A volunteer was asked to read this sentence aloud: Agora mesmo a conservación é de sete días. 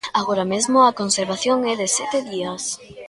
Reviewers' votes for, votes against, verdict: 0, 2, rejected